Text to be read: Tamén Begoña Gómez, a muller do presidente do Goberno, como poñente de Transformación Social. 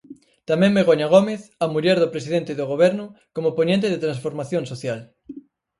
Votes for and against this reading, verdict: 4, 0, accepted